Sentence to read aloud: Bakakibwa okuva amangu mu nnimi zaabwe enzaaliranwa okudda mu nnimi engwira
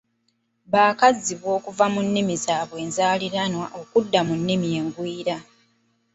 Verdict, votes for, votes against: rejected, 1, 2